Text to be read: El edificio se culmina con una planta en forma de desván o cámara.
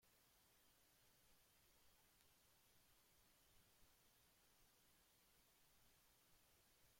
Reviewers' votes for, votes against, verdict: 0, 2, rejected